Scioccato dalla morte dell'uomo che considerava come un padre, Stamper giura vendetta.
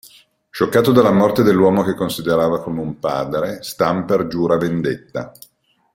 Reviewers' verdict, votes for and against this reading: accepted, 2, 0